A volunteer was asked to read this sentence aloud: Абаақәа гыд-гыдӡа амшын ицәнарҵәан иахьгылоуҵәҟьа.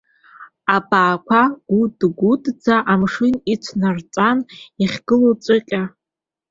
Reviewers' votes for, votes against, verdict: 1, 2, rejected